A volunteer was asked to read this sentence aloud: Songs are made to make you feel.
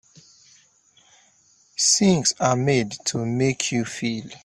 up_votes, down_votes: 0, 3